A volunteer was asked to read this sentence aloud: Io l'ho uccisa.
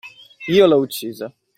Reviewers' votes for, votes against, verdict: 2, 0, accepted